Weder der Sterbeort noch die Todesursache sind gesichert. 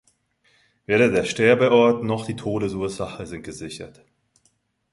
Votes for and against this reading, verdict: 2, 1, accepted